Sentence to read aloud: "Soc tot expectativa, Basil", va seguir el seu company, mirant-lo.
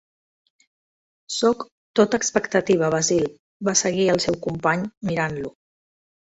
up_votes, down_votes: 1, 2